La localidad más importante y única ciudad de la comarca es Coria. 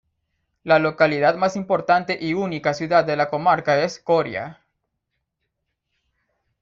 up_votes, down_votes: 2, 0